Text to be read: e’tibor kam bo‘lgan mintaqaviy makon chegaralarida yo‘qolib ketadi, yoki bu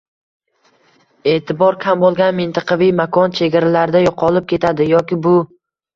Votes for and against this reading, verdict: 2, 0, accepted